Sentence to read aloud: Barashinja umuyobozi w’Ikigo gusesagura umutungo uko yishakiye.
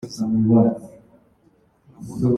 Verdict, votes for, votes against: rejected, 0, 2